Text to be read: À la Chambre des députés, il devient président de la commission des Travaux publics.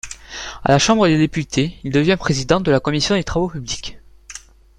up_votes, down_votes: 1, 2